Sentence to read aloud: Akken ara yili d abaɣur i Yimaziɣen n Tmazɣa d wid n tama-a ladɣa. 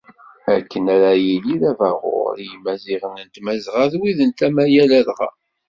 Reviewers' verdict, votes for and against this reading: accepted, 2, 0